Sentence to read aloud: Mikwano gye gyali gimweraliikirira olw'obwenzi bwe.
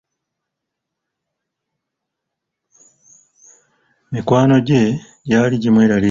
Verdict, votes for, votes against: rejected, 0, 2